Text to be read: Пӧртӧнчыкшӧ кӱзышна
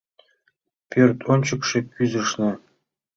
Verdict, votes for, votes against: rejected, 1, 2